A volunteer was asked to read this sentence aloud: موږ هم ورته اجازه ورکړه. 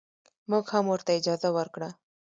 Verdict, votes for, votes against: rejected, 0, 2